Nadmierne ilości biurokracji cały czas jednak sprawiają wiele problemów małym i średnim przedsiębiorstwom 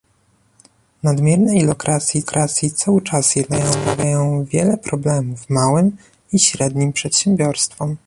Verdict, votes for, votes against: rejected, 1, 2